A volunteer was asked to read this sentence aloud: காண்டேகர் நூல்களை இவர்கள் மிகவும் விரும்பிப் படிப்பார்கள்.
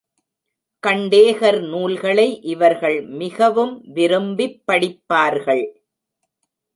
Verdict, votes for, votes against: rejected, 1, 2